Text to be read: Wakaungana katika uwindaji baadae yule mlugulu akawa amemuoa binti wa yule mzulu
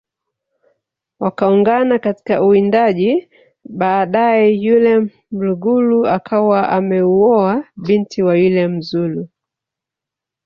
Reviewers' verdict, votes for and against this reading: rejected, 3, 4